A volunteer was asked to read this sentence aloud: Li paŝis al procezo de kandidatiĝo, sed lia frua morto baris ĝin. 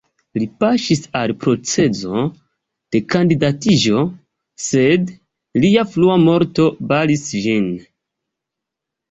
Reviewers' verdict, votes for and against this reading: rejected, 1, 2